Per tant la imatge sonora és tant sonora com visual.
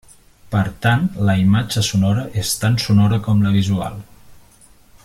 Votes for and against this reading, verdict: 1, 2, rejected